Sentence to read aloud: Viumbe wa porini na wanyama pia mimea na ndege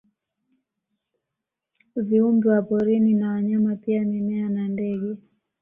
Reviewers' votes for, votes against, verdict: 2, 0, accepted